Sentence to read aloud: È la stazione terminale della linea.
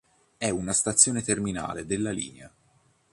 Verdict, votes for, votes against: rejected, 1, 2